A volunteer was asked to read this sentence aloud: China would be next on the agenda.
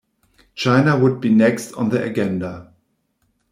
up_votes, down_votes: 0, 2